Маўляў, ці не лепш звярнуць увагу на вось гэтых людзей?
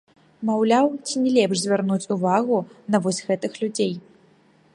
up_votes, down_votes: 2, 3